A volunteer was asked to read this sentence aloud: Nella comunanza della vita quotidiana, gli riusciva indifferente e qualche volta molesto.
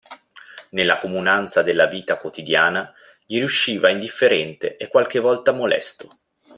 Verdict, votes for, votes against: accepted, 2, 0